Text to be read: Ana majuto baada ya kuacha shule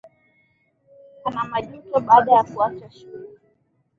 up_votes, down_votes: 1, 2